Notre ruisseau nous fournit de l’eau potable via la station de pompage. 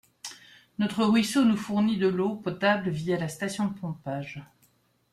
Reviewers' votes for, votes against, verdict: 2, 0, accepted